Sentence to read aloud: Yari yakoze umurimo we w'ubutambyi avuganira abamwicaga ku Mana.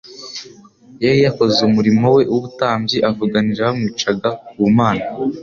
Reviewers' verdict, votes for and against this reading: accepted, 2, 0